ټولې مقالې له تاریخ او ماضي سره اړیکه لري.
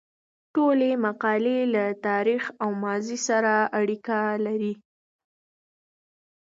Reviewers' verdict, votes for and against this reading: accepted, 2, 0